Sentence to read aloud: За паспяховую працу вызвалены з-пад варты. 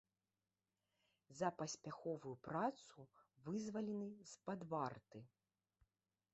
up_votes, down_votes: 2, 0